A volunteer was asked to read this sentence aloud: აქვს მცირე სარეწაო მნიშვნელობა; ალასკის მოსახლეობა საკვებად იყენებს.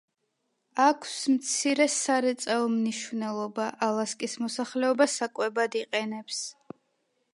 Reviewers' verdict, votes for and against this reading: accepted, 2, 0